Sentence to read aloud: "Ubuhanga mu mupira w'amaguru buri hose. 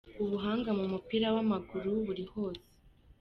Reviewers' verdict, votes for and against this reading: accepted, 2, 0